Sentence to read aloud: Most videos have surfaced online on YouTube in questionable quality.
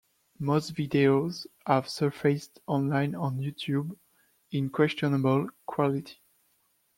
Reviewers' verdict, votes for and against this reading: accepted, 2, 0